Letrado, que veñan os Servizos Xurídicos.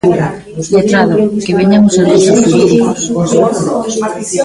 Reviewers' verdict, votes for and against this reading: rejected, 0, 2